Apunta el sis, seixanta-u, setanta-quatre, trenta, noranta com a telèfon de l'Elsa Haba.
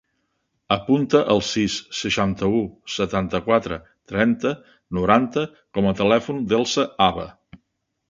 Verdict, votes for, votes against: rejected, 2, 3